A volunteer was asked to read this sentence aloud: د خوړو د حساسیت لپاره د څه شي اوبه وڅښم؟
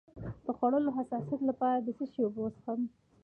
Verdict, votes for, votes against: accepted, 2, 1